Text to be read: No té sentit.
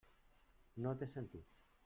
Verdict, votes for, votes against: rejected, 0, 2